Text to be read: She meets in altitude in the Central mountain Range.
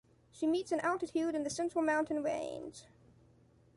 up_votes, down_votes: 2, 0